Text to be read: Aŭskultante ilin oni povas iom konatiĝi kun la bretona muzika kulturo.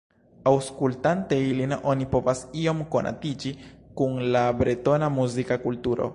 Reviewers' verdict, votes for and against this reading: accepted, 2, 0